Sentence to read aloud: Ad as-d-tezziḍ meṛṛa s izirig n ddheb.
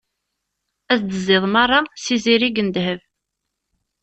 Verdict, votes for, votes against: rejected, 1, 2